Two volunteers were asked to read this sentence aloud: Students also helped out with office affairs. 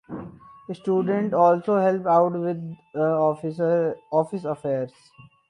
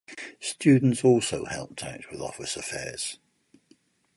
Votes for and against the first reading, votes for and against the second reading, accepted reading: 0, 6, 4, 0, second